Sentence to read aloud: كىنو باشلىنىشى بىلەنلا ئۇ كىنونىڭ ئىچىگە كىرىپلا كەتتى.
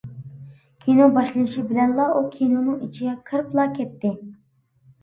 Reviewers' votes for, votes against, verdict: 2, 0, accepted